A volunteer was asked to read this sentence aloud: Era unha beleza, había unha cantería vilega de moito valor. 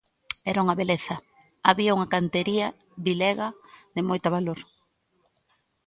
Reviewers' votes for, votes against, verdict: 2, 1, accepted